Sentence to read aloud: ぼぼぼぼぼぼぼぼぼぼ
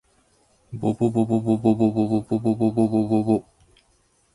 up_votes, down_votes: 2, 0